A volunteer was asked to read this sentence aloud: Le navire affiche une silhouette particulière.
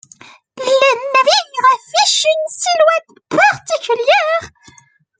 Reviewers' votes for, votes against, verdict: 0, 2, rejected